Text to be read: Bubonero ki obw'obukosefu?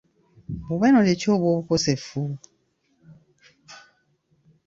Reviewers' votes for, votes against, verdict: 1, 2, rejected